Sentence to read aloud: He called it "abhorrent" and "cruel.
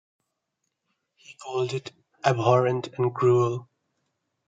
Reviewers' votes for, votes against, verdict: 2, 0, accepted